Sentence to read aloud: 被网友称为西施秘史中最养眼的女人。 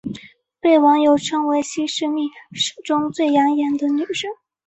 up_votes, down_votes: 1, 2